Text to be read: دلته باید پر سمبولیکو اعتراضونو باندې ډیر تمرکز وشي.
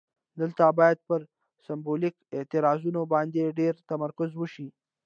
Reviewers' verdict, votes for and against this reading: rejected, 1, 2